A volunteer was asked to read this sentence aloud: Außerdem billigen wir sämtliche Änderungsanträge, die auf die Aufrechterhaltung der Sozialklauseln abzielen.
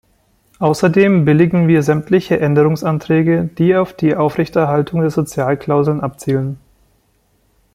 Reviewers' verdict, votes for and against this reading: accepted, 2, 0